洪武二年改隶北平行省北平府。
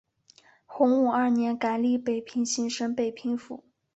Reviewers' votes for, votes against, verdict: 3, 1, accepted